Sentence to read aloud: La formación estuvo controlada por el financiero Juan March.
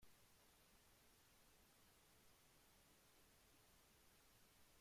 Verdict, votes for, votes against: rejected, 0, 2